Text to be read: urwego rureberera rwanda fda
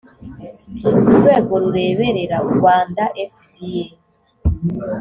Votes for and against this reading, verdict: 2, 0, accepted